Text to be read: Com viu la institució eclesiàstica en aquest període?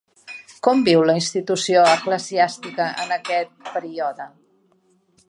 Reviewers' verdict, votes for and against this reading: rejected, 0, 2